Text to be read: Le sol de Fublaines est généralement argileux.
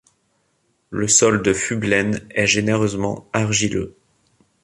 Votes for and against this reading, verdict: 1, 2, rejected